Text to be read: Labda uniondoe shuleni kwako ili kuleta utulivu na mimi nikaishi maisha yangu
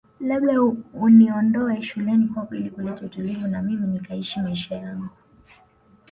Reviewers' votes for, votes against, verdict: 1, 2, rejected